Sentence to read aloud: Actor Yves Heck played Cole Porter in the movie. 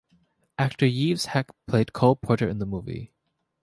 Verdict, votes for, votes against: accepted, 2, 0